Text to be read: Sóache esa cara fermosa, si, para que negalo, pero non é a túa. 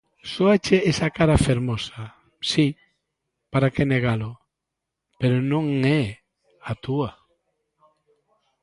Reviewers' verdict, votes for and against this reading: rejected, 1, 2